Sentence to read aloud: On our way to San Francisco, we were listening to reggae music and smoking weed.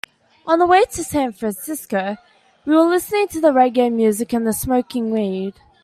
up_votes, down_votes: 3, 2